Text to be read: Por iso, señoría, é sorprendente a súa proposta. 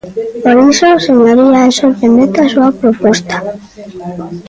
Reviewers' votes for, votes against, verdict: 1, 2, rejected